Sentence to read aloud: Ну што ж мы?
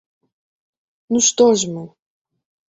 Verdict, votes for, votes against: accepted, 2, 0